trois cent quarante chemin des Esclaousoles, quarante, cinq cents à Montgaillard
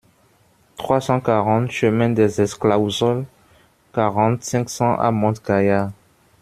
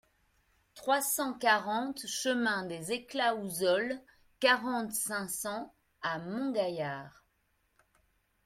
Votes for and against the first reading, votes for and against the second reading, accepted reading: 0, 2, 2, 0, second